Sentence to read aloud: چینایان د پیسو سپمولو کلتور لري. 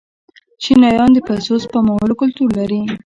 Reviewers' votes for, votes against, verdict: 1, 2, rejected